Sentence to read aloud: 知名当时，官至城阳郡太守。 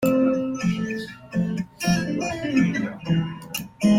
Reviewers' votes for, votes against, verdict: 1, 2, rejected